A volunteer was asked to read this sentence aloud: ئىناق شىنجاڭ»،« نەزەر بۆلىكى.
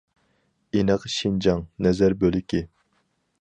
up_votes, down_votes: 2, 2